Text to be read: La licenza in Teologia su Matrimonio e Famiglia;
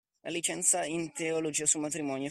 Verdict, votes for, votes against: rejected, 0, 2